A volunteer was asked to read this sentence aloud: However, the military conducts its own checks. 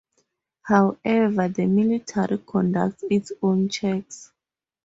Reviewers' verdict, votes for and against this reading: accepted, 2, 0